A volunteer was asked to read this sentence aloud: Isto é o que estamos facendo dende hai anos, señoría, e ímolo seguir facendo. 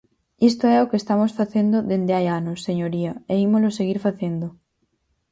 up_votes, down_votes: 4, 0